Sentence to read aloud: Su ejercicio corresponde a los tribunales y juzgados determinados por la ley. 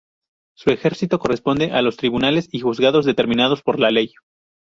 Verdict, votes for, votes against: rejected, 0, 2